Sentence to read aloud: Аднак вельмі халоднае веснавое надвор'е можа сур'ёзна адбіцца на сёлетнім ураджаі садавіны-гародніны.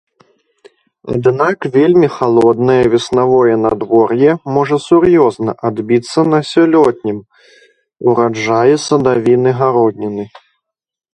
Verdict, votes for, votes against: rejected, 0, 2